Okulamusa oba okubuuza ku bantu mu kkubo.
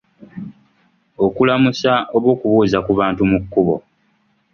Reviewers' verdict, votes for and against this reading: accepted, 2, 0